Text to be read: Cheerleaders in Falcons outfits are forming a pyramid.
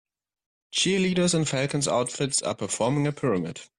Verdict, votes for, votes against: rejected, 1, 2